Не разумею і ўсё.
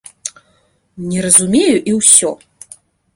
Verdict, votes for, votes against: accepted, 2, 0